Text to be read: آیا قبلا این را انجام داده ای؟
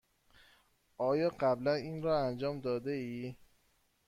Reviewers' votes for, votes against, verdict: 2, 0, accepted